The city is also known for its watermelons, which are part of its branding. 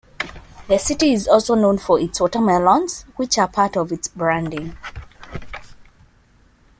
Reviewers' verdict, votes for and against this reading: accepted, 2, 0